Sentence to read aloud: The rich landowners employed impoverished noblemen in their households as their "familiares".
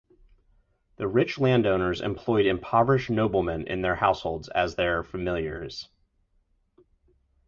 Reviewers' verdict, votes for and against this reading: accepted, 4, 0